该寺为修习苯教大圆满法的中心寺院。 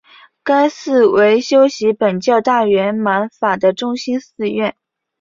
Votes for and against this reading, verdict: 2, 0, accepted